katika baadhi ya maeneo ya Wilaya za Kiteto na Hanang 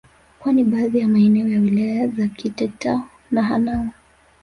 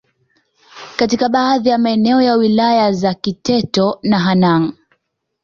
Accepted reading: second